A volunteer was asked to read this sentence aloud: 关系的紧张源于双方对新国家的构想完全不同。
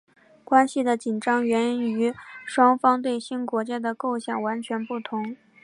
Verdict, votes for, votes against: accepted, 4, 0